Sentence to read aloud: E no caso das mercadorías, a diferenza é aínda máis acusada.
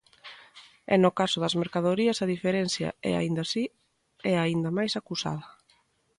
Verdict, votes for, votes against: rejected, 1, 2